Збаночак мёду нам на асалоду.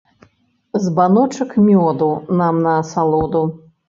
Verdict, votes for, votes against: accepted, 2, 0